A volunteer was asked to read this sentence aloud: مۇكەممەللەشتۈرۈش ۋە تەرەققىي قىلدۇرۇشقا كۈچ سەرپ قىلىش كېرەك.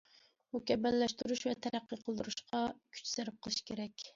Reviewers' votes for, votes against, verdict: 2, 0, accepted